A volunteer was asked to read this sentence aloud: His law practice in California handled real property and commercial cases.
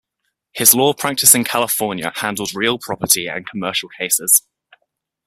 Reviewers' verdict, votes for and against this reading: accepted, 2, 0